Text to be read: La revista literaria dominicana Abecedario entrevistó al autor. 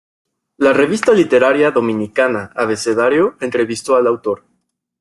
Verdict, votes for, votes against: accepted, 2, 0